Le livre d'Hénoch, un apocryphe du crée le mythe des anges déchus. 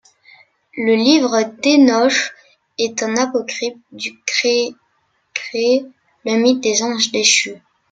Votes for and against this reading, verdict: 0, 2, rejected